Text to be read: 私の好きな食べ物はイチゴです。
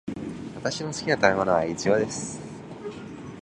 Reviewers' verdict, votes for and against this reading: accepted, 2, 0